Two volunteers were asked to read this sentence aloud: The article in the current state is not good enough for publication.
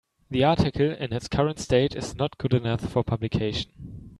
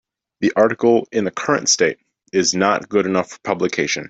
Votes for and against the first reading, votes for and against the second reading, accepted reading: 0, 4, 2, 0, second